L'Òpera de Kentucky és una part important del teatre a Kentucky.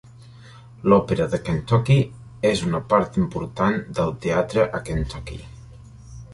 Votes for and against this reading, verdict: 3, 0, accepted